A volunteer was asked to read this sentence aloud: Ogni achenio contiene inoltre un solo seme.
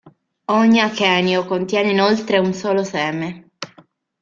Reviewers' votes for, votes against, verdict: 2, 0, accepted